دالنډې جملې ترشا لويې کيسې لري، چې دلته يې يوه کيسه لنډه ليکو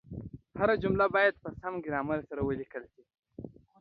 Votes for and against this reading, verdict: 1, 2, rejected